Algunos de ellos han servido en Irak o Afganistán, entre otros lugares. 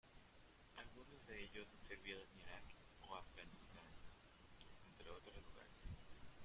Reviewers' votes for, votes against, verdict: 0, 2, rejected